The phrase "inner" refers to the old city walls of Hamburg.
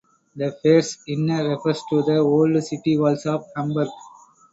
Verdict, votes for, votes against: accepted, 4, 0